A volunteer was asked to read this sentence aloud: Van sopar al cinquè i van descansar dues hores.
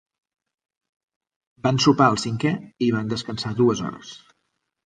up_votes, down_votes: 3, 0